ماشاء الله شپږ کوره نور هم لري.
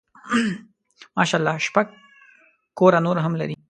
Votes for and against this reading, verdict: 2, 0, accepted